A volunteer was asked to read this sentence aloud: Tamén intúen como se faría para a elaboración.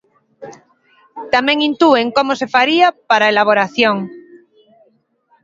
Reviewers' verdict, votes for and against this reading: rejected, 1, 2